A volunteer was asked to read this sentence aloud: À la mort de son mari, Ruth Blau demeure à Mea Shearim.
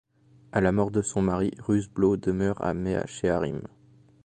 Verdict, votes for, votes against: accepted, 2, 0